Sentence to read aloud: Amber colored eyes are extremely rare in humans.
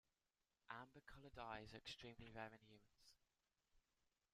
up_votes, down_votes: 0, 2